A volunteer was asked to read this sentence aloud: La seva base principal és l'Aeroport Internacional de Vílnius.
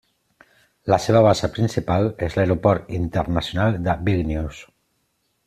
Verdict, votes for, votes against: accepted, 2, 0